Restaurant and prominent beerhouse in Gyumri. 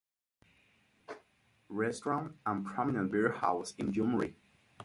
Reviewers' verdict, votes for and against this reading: accepted, 4, 0